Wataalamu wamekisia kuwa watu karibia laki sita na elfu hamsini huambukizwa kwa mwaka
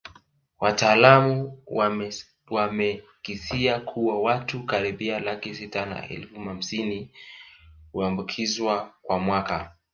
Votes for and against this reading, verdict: 2, 0, accepted